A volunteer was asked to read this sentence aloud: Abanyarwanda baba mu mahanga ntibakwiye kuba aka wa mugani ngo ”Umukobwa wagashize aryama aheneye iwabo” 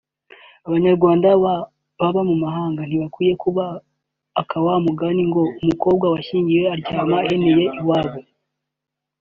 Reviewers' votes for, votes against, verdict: 0, 2, rejected